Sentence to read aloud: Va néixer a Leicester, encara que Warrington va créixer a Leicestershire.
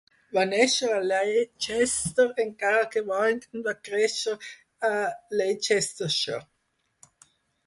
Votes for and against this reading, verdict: 0, 4, rejected